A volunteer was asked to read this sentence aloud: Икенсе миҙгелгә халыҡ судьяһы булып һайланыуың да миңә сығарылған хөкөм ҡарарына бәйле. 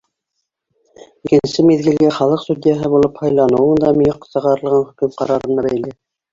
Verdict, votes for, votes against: rejected, 0, 3